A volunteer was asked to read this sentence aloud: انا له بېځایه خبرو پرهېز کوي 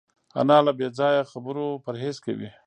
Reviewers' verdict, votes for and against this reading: rejected, 0, 2